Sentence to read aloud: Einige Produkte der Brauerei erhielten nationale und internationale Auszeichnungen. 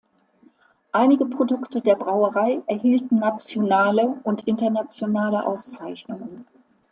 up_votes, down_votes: 3, 0